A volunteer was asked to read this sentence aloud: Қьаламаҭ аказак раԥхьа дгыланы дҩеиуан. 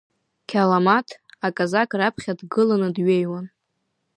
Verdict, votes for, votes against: accepted, 2, 0